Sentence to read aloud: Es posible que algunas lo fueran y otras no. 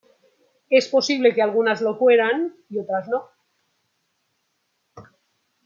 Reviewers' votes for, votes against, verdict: 2, 0, accepted